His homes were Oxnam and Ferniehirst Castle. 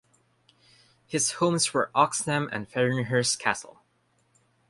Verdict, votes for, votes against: accepted, 3, 1